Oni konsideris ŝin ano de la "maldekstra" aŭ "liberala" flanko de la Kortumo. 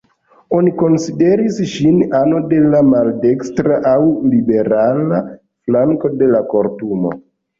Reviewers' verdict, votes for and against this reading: accepted, 2, 1